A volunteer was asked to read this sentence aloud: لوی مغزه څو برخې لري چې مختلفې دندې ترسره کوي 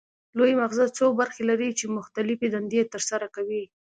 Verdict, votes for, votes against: accepted, 2, 0